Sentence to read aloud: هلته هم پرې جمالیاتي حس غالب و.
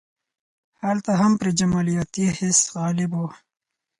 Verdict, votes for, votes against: accepted, 4, 0